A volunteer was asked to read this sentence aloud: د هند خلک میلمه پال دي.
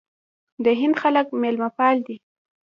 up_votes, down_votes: 1, 2